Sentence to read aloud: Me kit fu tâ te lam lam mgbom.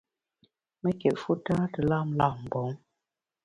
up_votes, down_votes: 0, 2